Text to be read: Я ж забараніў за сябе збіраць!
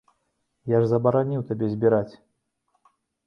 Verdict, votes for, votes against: rejected, 1, 2